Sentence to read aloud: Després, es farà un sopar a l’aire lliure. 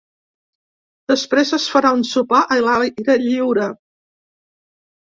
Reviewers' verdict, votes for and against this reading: rejected, 0, 2